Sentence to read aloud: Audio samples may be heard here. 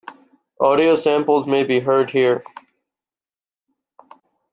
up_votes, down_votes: 3, 0